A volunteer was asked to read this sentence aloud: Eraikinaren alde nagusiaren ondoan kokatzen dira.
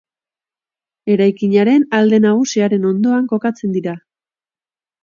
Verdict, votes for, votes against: accepted, 3, 0